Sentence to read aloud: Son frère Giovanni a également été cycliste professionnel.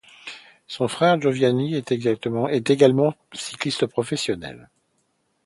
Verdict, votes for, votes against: rejected, 0, 2